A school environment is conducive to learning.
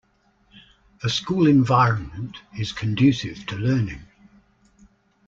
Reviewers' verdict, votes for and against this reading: accepted, 2, 0